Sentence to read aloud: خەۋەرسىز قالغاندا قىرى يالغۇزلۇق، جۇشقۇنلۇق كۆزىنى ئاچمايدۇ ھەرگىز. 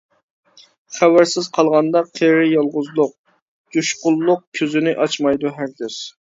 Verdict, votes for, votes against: rejected, 1, 2